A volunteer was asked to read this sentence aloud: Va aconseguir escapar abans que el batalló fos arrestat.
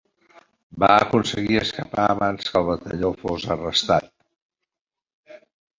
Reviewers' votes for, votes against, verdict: 3, 1, accepted